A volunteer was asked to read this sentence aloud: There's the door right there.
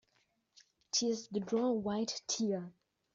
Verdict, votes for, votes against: rejected, 0, 2